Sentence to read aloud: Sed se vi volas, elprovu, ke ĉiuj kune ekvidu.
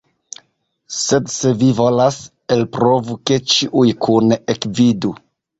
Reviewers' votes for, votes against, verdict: 2, 0, accepted